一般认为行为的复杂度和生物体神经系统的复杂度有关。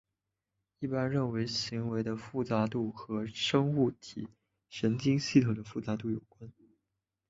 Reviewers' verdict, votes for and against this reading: rejected, 1, 2